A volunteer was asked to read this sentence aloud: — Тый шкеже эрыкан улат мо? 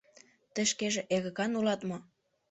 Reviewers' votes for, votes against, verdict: 0, 2, rejected